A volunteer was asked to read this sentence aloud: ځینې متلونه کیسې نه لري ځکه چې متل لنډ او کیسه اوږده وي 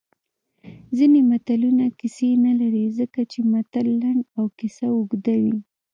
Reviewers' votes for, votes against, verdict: 1, 2, rejected